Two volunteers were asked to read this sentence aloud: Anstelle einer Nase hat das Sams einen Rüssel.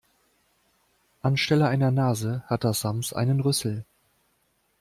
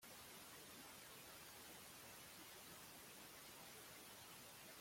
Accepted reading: first